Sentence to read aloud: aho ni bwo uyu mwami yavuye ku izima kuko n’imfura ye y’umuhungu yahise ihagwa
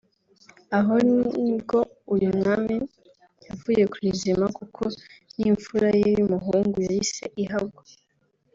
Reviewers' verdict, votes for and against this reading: accepted, 3, 0